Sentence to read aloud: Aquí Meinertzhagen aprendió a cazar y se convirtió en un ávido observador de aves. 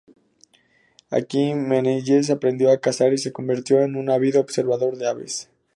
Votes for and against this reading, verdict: 0, 2, rejected